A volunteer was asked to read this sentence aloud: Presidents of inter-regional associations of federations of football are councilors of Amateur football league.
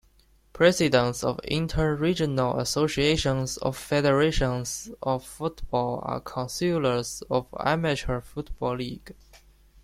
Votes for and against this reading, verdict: 1, 2, rejected